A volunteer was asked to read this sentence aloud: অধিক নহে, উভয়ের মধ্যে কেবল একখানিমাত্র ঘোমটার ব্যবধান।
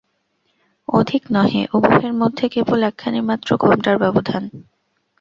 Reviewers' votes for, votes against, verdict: 2, 0, accepted